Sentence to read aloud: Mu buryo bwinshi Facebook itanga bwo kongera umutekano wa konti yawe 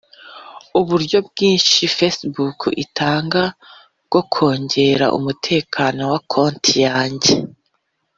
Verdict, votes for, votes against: rejected, 0, 2